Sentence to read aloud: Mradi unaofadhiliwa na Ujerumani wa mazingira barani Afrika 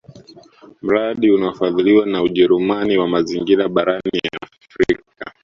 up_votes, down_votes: 1, 2